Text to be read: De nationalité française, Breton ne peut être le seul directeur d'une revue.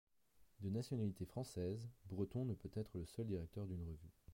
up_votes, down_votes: 2, 0